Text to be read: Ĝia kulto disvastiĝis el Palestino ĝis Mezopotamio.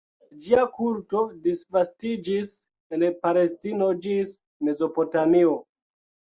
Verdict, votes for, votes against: rejected, 1, 2